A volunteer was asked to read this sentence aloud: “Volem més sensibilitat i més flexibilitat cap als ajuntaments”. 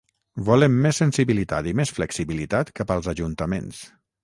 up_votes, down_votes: 0, 3